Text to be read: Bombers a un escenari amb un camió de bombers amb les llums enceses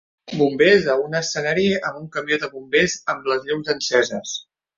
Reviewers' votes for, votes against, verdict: 2, 0, accepted